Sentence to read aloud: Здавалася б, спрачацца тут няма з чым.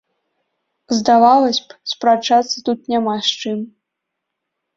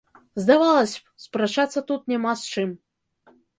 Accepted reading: second